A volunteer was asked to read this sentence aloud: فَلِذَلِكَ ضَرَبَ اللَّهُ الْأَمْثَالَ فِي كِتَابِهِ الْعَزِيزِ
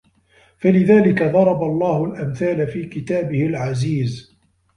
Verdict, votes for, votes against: rejected, 1, 2